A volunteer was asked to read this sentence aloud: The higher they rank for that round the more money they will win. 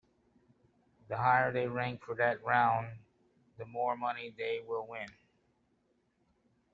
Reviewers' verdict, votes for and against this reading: accepted, 2, 1